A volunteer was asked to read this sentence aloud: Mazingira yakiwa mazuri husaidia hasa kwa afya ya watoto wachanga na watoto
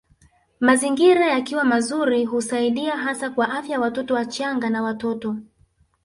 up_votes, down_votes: 1, 2